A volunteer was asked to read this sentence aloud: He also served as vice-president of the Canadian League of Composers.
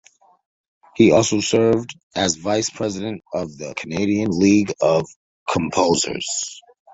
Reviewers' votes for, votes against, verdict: 2, 0, accepted